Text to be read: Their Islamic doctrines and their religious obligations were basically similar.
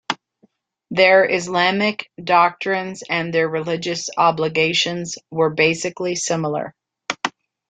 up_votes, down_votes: 2, 0